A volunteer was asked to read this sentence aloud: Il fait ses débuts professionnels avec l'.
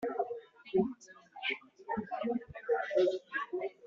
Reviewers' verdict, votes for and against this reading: rejected, 0, 2